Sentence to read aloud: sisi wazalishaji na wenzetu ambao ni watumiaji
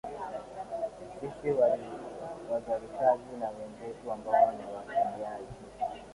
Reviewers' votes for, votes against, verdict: 0, 2, rejected